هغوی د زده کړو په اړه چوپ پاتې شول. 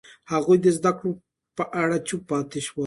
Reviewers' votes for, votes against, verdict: 2, 0, accepted